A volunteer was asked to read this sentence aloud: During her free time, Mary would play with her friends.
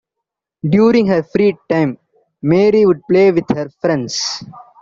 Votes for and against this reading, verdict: 2, 0, accepted